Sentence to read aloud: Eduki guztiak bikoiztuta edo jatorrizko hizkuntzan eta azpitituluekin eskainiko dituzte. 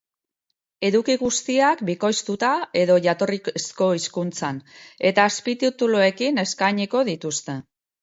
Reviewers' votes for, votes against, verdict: 1, 2, rejected